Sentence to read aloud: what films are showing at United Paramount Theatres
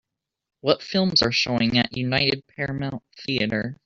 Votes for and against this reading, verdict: 2, 1, accepted